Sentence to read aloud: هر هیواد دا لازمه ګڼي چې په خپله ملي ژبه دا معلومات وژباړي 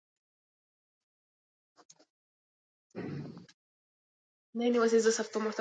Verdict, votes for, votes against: rejected, 0, 2